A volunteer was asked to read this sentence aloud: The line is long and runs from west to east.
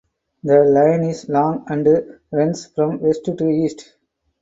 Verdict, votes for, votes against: accepted, 4, 2